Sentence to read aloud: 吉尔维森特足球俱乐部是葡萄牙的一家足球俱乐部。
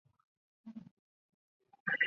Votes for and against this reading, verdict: 0, 2, rejected